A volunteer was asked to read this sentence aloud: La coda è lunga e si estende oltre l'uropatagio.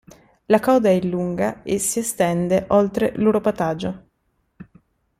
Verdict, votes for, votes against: accepted, 2, 0